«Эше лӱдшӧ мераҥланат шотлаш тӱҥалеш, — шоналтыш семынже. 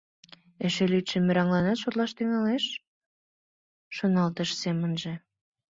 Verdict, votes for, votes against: accepted, 2, 0